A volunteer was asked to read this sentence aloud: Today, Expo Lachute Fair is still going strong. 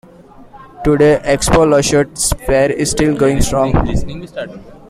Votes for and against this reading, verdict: 0, 2, rejected